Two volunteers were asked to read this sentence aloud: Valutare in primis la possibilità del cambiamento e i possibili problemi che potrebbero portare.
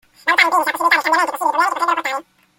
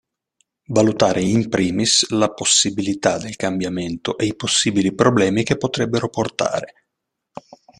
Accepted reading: second